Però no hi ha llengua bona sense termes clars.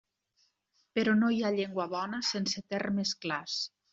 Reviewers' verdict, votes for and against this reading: accepted, 3, 0